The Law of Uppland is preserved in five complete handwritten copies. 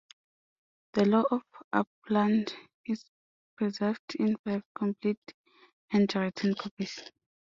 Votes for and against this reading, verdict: 2, 1, accepted